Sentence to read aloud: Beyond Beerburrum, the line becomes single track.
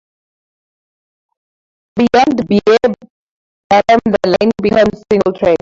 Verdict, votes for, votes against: rejected, 0, 2